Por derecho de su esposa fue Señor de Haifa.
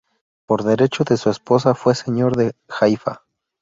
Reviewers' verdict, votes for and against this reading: accepted, 2, 0